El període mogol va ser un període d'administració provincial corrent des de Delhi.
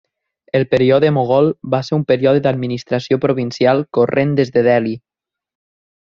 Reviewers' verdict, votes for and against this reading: accepted, 2, 0